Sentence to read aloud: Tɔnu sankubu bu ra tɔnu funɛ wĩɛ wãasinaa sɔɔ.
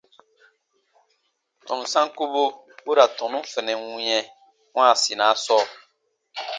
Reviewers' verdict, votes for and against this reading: accepted, 2, 0